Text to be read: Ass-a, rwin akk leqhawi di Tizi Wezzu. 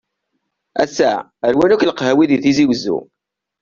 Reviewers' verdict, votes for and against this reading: accepted, 2, 0